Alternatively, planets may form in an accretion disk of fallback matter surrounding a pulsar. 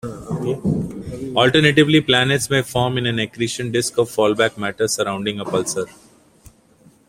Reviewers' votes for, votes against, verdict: 1, 2, rejected